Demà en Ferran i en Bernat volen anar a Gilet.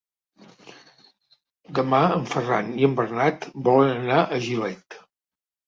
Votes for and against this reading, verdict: 5, 0, accepted